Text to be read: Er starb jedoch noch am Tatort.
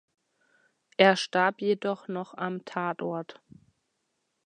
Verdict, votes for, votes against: accepted, 2, 0